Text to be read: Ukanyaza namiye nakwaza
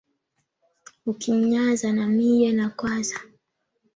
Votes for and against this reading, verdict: 0, 2, rejected